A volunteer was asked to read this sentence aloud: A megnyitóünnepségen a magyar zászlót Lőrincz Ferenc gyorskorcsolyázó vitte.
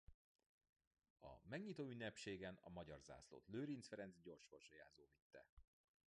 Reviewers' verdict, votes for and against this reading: rejected, 1, 2